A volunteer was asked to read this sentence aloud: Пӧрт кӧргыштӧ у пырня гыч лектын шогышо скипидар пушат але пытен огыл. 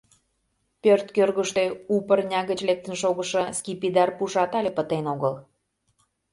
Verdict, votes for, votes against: accepted, 2, 0